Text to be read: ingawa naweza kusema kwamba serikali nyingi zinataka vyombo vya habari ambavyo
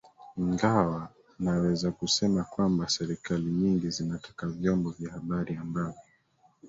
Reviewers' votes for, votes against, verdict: 1, 2, rejected